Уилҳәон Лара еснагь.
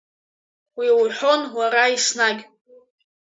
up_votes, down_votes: 0, 2